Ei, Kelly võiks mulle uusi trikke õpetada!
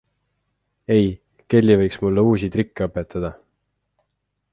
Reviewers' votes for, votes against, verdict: 2, 0, accepted